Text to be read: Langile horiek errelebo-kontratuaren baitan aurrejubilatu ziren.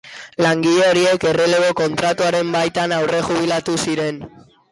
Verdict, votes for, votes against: accepted, 2, 0